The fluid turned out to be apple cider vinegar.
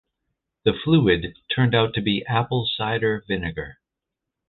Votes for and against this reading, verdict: 2, 0, accepted